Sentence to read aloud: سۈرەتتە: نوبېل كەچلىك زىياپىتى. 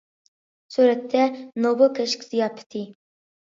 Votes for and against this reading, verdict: 0, 2, rejected